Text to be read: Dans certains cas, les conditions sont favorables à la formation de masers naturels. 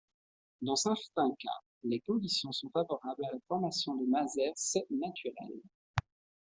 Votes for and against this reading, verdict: 1, 2, rejected